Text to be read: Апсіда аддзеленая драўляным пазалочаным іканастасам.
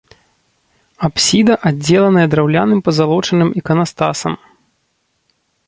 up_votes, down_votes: 0, 2